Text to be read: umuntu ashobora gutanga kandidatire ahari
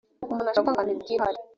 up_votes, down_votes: 0, 3